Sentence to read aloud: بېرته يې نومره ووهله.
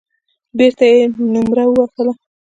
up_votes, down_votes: 0, 2